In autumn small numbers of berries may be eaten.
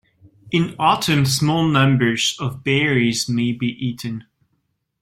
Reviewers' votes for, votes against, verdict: 2, 0, accepted